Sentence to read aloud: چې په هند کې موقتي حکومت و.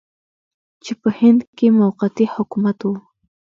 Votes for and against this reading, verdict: 3, 2, accepted